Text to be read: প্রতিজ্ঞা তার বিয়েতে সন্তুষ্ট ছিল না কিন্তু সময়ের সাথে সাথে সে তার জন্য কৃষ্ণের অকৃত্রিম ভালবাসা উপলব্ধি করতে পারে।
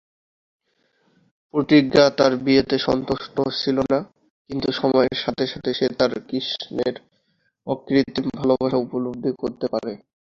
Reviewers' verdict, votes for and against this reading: rejected, 1, 5